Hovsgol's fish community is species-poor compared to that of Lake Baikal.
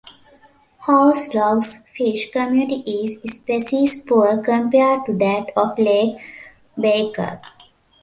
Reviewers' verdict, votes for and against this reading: accepted, 2, 0